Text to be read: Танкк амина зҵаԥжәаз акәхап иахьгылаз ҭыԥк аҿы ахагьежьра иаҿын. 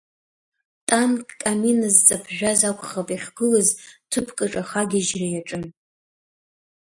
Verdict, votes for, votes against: accepted, 2, 1